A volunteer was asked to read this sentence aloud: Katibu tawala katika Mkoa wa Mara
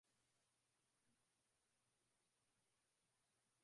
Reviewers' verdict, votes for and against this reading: rejected, 3, 9